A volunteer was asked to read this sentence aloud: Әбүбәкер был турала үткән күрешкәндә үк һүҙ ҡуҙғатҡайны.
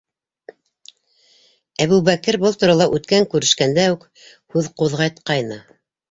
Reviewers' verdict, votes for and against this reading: accepted, 2, 0